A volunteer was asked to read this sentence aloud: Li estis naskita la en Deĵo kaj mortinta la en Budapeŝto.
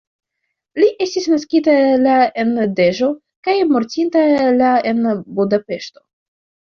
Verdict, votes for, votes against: rejected, 1, 2